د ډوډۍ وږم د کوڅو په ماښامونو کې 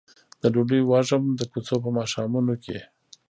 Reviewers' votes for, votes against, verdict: 0, 2, rejected